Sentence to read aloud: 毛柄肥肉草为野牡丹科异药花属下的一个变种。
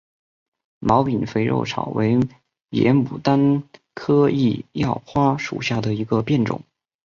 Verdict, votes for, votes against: accepted, 2, 0